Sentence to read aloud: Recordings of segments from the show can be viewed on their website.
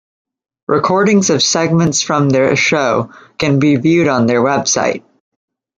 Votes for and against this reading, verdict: 1, 2, rejected